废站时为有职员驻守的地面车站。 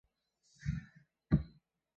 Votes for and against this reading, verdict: 0, 3, rejected